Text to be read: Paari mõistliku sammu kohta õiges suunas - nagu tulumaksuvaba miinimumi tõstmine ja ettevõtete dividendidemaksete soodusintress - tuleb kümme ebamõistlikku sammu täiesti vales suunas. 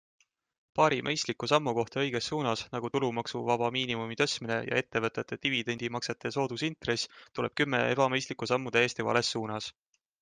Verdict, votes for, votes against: accepted, 2, 0